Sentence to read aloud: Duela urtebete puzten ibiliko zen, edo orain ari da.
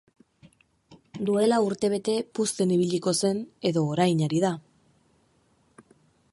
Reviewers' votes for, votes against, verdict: 4, 0, accepted